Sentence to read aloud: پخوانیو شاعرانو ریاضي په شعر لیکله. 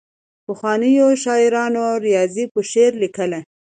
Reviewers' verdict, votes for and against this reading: accepted, 2, 0